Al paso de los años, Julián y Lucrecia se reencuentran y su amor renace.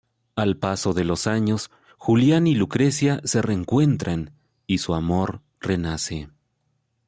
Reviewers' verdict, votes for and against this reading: accepted, 2, 0